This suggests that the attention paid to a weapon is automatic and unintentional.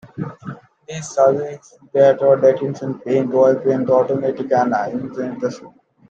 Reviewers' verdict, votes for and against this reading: rejected, 0, 2